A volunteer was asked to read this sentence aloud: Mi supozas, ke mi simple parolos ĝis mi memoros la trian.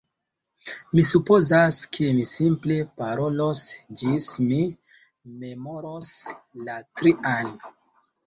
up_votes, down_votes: 2, 0